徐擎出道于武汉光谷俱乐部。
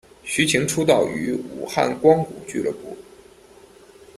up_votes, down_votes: 2, 1